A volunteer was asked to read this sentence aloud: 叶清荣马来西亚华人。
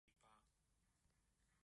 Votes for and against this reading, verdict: 0, 2, rejected